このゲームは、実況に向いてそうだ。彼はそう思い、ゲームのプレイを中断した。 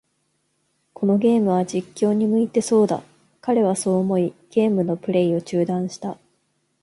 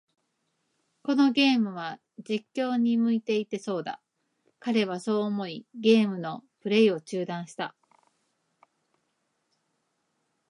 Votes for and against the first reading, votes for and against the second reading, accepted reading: 3, 0, 0, 2, first